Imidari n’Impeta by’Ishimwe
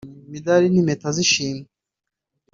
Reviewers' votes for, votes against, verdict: 0, 2, rejected